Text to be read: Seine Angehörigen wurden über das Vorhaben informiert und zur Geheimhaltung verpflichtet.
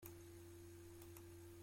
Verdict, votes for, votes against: rejected, 0, 2